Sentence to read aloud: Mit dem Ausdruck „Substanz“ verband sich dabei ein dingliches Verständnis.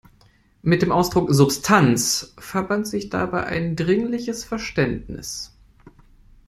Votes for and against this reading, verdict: 1, 2, rejected